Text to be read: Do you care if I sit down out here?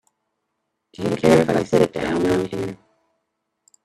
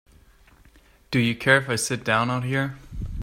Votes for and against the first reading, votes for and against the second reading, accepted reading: 1, 2, 2, 0, second